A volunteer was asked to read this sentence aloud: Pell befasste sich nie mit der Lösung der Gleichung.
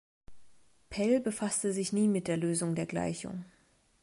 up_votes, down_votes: 2, 0